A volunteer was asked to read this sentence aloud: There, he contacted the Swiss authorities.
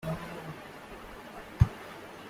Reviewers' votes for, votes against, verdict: 0, 2, rejected